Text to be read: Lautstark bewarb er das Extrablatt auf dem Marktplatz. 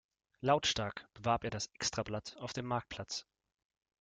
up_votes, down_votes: 1, 2